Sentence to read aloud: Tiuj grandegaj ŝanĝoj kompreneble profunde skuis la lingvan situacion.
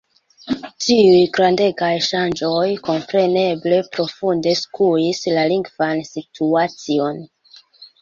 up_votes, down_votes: 0, 2